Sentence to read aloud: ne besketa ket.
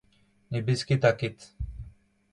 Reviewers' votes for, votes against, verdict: 2, 0, accepted